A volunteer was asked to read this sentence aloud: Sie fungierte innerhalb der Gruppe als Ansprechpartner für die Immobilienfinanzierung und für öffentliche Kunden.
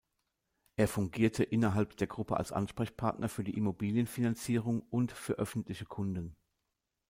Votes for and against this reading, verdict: 0, 2, rejected